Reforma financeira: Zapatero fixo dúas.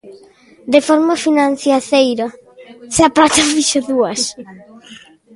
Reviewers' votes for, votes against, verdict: 0, 2, rejected